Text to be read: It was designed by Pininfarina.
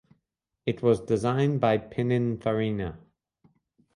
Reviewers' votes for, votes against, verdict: 2, 0, accepted